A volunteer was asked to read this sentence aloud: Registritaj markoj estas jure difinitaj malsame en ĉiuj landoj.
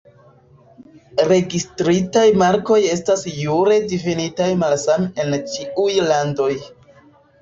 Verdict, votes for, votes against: rejected, 1, 2